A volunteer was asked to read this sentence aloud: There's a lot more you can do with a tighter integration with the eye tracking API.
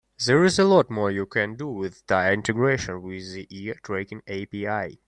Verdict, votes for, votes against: rejected, 2, 3